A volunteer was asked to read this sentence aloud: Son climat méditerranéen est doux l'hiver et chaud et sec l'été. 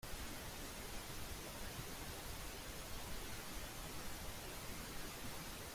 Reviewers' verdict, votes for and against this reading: rejected, 0, 2